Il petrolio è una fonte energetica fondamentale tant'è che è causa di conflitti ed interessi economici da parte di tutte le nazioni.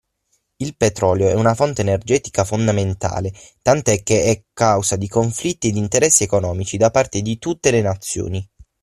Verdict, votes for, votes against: accepted, 6, 0